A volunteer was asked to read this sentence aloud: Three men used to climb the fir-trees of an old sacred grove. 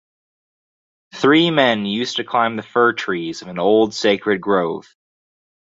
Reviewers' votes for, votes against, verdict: 4, 0, accepted